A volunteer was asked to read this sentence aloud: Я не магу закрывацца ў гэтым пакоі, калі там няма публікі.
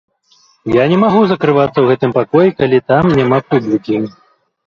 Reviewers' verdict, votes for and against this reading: rejected, 1, 2